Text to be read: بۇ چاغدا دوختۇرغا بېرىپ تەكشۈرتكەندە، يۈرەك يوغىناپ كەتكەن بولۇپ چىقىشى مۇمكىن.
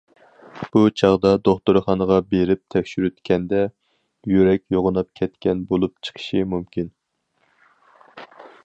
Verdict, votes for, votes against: rejected, 2, 2